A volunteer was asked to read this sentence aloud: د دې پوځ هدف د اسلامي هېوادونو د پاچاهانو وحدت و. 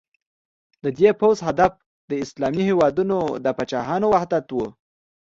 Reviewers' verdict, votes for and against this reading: accepted, 2, 0